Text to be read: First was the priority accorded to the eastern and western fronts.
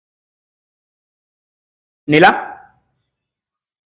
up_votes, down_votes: 0, 2